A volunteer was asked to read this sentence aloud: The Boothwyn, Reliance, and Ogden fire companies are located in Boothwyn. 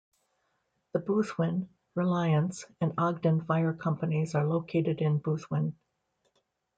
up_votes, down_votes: 2, 0